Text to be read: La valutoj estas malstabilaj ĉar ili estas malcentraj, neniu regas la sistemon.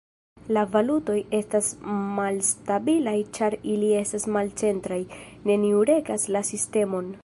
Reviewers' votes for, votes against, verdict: 2, 1, accepted